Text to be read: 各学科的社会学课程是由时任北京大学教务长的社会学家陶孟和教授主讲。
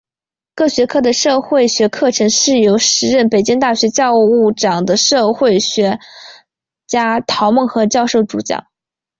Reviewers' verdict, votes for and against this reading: rejected, 0, 2